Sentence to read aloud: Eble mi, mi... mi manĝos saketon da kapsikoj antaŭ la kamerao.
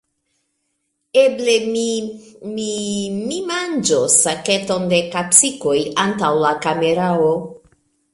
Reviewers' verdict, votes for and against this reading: rejected, 1, 2